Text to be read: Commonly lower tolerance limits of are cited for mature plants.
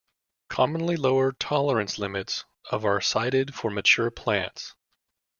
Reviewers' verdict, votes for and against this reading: accepted, 2, 0